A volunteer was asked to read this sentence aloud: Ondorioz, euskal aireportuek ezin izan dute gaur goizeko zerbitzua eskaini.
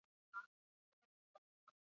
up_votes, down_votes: 0, 8